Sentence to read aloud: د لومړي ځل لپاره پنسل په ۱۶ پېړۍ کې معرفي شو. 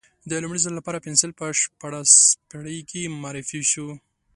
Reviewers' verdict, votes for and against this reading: rejected, 0, 2